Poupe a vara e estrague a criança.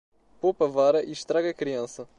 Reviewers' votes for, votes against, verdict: 2, 0, accepted